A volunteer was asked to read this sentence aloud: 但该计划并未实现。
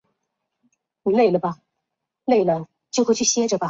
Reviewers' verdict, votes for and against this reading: rejected, 0, 3